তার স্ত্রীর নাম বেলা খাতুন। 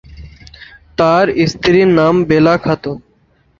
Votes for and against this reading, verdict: 2, 2, rejected